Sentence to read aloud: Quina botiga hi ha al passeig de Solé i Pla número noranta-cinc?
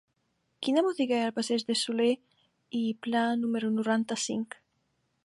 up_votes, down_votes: 0, 2